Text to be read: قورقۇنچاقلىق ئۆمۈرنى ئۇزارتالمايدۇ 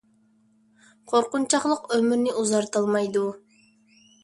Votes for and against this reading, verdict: 2, 0, accepted